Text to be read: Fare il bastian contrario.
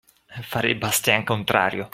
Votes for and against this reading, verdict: 2, 0, accepted